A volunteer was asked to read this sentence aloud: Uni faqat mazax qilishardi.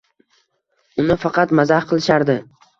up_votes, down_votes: 2, 0